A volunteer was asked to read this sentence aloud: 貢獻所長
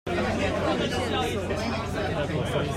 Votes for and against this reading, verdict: 0, 2, rejected